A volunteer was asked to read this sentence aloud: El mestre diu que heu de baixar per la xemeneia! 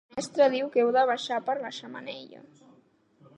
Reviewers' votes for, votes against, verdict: 1, 2, rejected